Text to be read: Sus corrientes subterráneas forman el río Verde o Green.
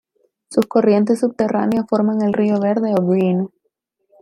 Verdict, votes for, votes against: rejected, 1, 2